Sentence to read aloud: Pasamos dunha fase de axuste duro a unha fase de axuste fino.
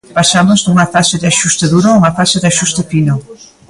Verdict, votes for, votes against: accepted, 3, 1